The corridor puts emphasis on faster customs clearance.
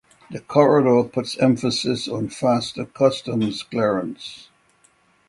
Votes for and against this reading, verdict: 6, 0, accepted